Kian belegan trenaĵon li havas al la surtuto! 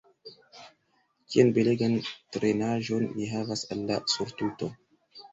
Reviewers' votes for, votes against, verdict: 1, 2, rejected